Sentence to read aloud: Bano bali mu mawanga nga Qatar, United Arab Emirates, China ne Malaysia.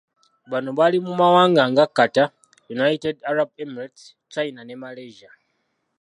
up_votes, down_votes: 2, 0